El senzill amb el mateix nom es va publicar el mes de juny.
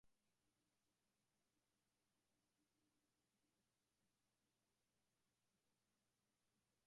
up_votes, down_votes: 0, 2